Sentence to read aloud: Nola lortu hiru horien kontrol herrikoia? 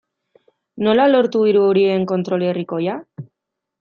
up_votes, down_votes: 2, 0